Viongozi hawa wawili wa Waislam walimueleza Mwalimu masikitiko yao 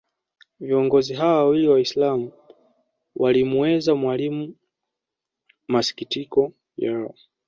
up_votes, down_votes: 1, 2